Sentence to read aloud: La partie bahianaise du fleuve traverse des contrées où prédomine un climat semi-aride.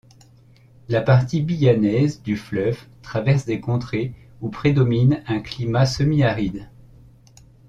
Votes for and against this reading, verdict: 0, 2, rejected